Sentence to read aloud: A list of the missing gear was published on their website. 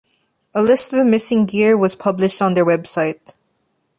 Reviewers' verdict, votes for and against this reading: rejected, 1, 3